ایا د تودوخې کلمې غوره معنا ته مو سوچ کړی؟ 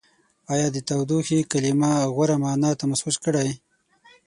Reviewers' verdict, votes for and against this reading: rejected, 0, 6